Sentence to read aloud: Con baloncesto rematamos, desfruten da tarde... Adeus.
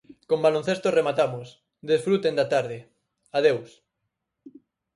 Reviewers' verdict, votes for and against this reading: accepted, 4, 0